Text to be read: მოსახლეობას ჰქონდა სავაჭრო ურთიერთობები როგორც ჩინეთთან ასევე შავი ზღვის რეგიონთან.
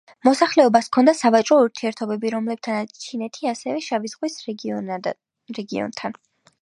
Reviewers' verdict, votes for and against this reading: rejected, 0, 2